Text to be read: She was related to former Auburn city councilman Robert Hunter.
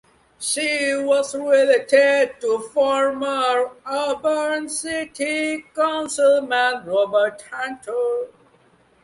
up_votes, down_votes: 2, 1